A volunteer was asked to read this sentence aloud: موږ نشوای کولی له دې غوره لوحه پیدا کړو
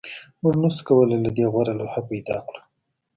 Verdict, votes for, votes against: accepted, 2, 0